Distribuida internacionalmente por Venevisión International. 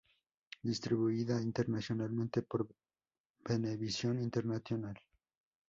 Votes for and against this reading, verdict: 0, 2, rejected